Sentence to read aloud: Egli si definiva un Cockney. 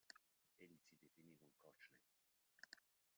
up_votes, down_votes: 0, 2